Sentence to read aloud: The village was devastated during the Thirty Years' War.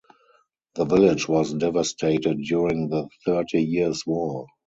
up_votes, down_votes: 4, 0